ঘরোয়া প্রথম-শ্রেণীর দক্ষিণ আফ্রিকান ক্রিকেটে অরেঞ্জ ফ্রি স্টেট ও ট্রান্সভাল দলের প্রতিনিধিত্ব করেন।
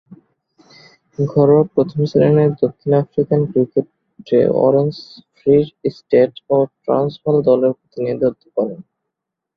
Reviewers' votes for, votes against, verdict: 0, 2, rejected